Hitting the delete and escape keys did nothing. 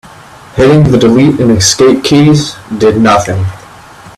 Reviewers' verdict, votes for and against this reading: accepted, 2, 1